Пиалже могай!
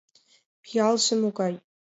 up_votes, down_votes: 2, 0